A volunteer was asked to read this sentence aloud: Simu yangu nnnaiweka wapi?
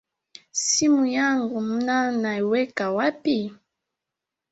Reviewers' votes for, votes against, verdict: 1, 2, rejected